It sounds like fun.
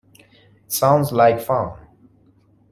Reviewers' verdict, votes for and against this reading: rejected, 1, 2